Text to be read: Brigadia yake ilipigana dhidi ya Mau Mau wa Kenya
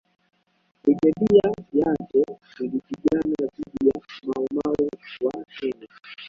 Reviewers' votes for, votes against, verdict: 1, 2, rejected